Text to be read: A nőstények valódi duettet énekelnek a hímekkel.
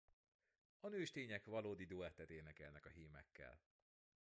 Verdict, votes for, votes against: accepted, 2, 1